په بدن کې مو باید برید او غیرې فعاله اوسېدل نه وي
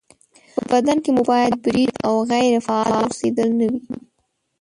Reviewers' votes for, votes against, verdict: 2, 3, rejected